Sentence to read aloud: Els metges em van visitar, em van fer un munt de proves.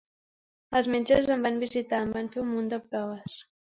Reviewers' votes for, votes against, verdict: 2, 0, accepted